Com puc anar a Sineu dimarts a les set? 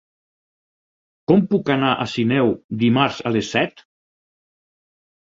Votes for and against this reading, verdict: 6, 0, accepted